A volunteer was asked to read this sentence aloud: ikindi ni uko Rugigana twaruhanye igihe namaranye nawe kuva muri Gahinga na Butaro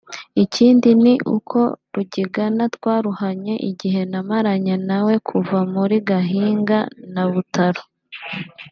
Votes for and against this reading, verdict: 2, 0, accepted